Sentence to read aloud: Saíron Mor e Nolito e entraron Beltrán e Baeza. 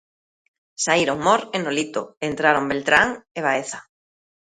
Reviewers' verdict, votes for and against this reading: accepted, 2, 0